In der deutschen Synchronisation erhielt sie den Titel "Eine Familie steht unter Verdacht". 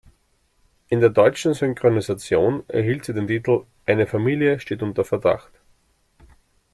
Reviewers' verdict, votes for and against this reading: accepted, 2, 0